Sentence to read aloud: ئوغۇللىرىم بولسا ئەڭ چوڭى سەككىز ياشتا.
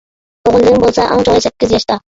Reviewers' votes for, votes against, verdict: 0, 2, rejected